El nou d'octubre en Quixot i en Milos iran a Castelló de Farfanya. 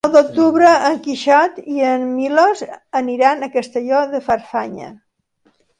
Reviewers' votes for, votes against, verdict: 0, 2, rejected